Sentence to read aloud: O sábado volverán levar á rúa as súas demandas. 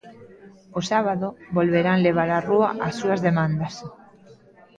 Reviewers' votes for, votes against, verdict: 2, 0, accepted